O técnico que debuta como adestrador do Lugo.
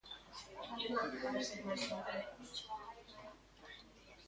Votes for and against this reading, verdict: 0, 2, rejected